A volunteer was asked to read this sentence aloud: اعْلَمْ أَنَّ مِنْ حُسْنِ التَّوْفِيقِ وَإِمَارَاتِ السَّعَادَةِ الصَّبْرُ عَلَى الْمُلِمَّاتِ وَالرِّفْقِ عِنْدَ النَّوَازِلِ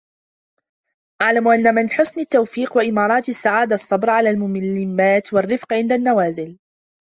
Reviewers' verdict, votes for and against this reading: rejected, 0, 2